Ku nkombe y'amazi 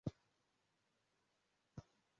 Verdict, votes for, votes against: rejected, 0, 2